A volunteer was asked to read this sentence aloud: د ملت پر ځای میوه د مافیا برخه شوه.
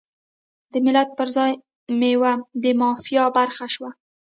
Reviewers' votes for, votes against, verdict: 0, 2, rejected